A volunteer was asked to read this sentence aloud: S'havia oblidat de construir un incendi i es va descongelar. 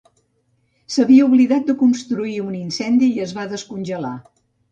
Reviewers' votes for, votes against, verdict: 2, 0, accepted